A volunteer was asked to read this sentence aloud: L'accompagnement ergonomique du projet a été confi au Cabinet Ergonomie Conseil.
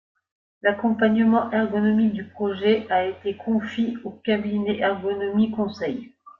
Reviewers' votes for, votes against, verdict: 1, 2, rejected